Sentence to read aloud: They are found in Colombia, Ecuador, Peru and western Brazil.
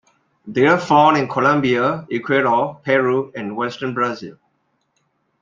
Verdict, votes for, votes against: accepted, 2, 0